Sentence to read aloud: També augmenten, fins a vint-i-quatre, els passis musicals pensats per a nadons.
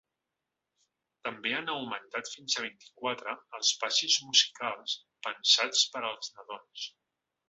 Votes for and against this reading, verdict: 0, 2, rejected